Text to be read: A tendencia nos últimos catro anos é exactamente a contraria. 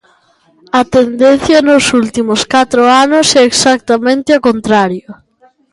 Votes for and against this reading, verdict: 2, 0, accepted